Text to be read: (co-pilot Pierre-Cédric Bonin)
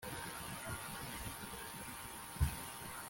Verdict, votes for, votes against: rejected, 0, 2